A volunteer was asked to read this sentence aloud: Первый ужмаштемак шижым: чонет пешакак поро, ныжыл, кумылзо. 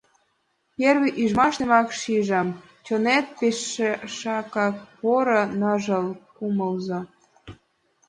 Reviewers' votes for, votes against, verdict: 1, 2, rejected